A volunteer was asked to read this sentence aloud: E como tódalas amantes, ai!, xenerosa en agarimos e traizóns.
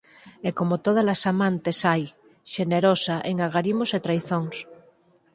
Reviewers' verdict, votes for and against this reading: accepted, 4, 0